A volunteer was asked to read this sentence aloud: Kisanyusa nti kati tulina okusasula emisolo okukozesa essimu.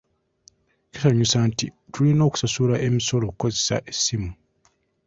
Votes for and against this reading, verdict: 2, 0, accepted